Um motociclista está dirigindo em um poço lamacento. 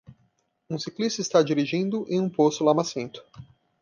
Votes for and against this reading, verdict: 0, 2, rejected